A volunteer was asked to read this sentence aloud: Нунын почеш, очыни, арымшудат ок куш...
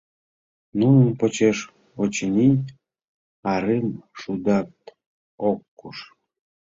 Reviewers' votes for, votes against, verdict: 2, 0, accepted